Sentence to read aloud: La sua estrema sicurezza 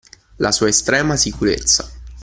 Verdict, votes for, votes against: accepted, 2, 0